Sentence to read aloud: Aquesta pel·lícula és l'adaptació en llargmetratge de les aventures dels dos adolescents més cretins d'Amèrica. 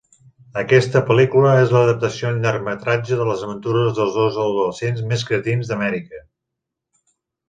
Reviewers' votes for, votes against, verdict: 2, 0, accepted